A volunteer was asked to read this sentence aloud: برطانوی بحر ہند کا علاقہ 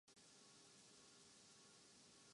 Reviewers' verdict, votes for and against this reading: rejected, 0, 2